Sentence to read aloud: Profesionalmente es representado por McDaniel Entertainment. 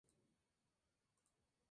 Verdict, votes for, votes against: rejected, 0, 4